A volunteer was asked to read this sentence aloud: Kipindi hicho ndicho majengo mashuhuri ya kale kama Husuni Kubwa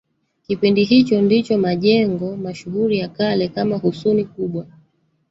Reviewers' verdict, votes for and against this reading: rejected, 1, 2